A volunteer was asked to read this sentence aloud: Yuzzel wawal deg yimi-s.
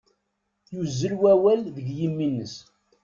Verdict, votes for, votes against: rejected, 0, 2